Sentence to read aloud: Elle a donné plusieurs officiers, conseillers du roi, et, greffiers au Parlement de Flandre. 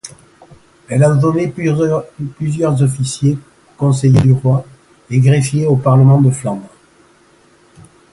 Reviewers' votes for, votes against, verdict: 0, 2, rejected